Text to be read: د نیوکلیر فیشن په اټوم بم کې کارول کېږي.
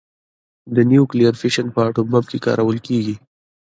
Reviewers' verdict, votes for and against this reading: accepted, 2, 1